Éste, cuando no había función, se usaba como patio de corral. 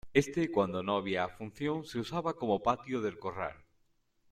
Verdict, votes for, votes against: accepted, 2, 0